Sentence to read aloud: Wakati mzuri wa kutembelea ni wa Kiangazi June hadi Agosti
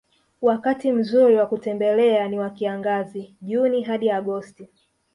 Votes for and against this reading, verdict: 0, 2, rejected